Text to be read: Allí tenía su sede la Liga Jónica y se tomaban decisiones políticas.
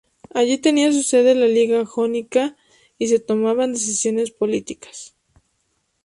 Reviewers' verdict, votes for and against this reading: accepted, 2, 0